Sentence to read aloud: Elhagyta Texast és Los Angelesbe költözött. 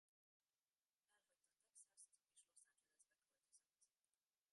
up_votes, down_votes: 0, 2